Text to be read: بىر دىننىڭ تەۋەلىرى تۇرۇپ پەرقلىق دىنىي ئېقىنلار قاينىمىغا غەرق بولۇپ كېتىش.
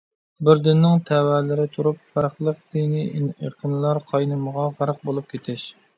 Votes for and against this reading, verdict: 0, 2, rejected